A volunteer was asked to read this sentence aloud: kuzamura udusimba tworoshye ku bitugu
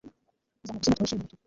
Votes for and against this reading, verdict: 0, 2, rejected